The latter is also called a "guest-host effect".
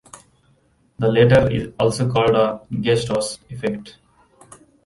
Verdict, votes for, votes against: rejected, 0, 2